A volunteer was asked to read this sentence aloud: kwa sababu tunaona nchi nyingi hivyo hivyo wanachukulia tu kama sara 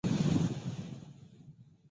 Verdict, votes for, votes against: rejected, 0, 2